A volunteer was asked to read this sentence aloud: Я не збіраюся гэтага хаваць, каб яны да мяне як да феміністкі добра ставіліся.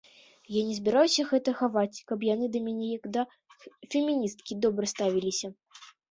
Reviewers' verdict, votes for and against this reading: rejected, 0, 2